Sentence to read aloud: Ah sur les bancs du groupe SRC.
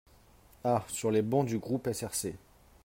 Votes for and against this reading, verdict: 4, 0, accepted